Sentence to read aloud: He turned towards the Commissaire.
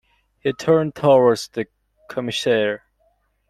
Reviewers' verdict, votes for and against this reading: accepted, 2, 1